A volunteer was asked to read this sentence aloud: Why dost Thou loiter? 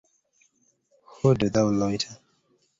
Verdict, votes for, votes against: rejected, 0, 2